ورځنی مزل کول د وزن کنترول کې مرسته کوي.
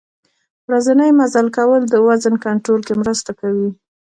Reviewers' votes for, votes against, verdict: 2, 1, accepted